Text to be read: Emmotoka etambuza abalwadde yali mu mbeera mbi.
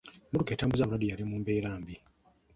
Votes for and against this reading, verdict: 0, 2, rejected